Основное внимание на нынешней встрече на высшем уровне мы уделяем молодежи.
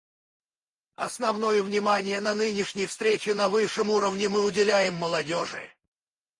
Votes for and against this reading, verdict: 0, 2, rejected